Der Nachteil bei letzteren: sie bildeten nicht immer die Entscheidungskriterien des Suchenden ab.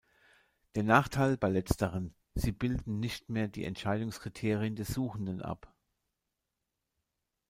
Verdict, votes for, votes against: rejected, 0, 2